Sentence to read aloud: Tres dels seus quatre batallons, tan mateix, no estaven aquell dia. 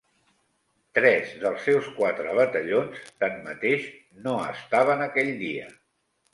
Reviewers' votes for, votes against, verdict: 2, 0, accepted